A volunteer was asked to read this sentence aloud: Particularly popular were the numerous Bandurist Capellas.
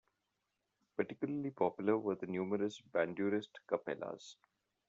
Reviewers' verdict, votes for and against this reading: rejected, 0, 2